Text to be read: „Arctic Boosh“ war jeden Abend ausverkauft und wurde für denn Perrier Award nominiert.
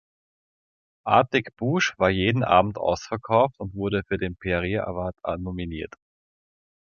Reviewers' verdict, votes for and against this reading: rejected, 1, 2